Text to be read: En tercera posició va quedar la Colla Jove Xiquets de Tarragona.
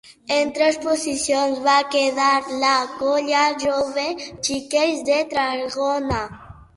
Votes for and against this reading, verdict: 1, 5, rejected